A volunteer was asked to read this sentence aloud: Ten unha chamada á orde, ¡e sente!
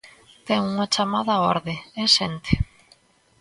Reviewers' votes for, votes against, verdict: 2, 0, accepted